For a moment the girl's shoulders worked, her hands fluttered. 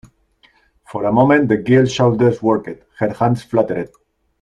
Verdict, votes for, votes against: rejected, 0, 2